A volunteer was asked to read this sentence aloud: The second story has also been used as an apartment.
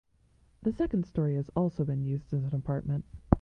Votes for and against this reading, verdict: 2, 0, accepted